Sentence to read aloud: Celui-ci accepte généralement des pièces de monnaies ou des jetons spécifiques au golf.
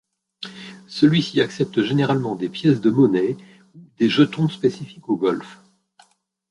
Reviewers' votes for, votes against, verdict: 2, 1, accepted